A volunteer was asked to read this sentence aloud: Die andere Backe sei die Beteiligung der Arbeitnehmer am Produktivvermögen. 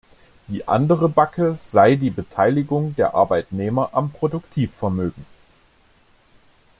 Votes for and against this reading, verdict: 2, 0, accepted